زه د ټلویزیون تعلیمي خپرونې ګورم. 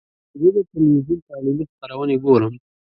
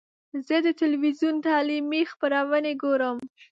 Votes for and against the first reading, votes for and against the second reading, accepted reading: 2, 4, 2, 0, second